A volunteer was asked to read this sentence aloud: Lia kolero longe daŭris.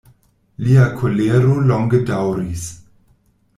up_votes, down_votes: 2, 0